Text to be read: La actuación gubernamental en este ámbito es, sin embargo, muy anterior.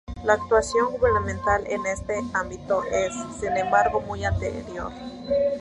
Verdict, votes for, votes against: accepted, 2, 0